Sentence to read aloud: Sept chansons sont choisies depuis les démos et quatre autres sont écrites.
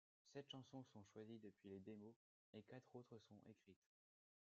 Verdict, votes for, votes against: rejected, 1, 2